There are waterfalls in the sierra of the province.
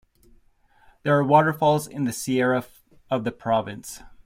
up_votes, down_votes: 1, 2